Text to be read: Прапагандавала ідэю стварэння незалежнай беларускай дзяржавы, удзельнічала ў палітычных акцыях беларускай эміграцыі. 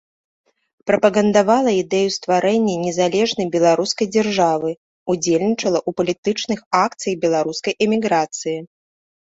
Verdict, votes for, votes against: rejected, 0, 2